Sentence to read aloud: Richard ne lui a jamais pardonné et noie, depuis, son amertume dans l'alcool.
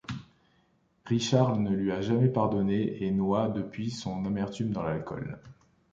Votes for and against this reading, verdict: 2, 0, accepted